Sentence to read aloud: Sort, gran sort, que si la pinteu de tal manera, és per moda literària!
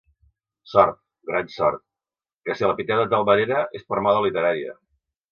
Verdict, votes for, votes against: accepted, 2, 0